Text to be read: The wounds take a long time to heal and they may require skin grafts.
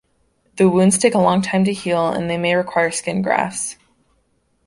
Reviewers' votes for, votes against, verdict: 2, 0, accepted